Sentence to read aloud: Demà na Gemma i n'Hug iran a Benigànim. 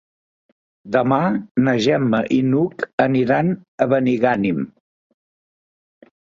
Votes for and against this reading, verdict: 0, 2, rejected